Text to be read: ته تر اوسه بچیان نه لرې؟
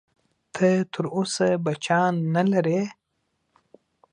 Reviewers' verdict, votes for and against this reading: accepted, 2, 0